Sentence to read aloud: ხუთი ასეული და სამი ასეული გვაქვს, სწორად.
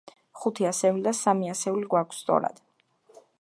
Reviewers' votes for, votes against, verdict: 0, 2, rejected